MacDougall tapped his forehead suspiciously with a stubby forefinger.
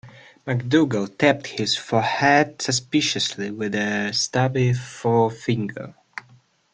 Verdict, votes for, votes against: accepted, 2, 1